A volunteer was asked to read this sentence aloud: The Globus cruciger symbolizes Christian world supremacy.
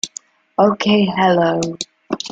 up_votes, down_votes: 1, 2